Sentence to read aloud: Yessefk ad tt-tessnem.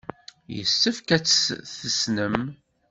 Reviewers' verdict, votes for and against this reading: rejected, 1, 2